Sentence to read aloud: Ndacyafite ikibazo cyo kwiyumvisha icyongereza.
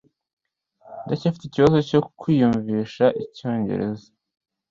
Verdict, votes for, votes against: accepted, 2, 0